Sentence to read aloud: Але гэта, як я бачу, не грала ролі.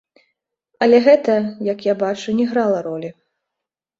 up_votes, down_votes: 2, 0